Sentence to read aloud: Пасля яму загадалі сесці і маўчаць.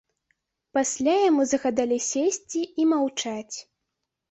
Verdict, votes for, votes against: accepted, 2, 0